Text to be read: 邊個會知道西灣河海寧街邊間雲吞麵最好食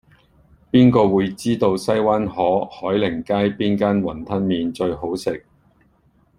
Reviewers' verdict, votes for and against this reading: accepted, 2, 0